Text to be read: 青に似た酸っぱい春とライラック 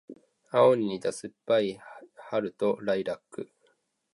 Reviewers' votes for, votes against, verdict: 2, 0, accepted